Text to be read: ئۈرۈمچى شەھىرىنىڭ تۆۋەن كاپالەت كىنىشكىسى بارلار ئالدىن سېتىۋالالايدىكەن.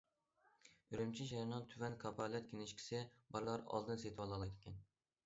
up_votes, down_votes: 2, 0